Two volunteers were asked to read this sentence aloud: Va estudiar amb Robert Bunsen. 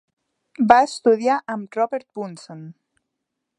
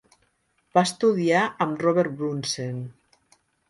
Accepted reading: first